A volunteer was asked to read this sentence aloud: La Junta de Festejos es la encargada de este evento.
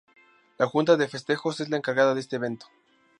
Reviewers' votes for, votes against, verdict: 2, 0, accepted